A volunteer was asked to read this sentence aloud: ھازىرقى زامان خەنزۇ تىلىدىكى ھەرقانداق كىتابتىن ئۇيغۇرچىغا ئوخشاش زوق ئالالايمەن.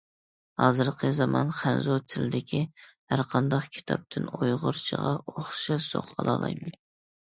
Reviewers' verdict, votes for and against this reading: accepted, 2, 0